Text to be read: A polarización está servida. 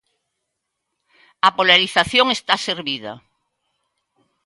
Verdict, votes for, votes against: accepted, 2, 0